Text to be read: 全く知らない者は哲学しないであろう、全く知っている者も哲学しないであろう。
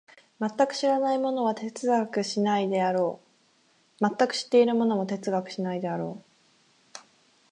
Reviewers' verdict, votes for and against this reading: accepted, 4, 0